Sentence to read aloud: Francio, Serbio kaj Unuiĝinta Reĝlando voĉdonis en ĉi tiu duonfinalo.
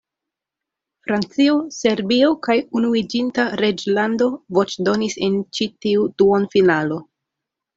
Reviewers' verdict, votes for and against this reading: accepted, 2, 0